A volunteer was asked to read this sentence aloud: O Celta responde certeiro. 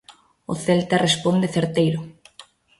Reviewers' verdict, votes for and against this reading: accepted, 2, 0